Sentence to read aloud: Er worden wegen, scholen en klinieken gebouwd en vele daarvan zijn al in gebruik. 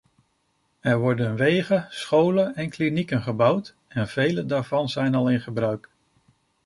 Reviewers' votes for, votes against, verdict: 2, 0, accepted